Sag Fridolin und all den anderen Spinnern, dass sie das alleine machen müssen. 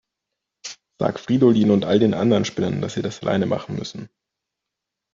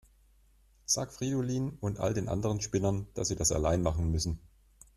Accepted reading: first